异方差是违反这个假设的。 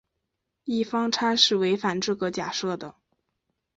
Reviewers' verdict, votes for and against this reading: accepted, 2, 0